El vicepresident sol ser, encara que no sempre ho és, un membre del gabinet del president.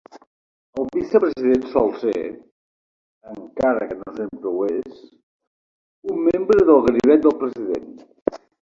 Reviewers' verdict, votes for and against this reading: accepted, 2, 1